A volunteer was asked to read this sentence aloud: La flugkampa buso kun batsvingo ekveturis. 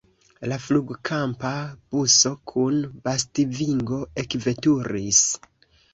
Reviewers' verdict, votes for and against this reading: accepted, 2, 1